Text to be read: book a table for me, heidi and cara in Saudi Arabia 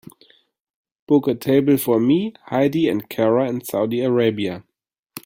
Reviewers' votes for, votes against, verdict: 2, 0, accepted